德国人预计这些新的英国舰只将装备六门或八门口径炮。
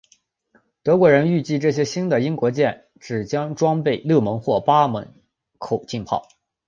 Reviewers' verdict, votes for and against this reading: accepted, 3, 0